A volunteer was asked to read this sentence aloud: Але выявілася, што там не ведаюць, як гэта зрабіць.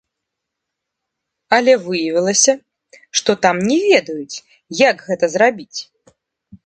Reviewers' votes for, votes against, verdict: 0, 2, rejected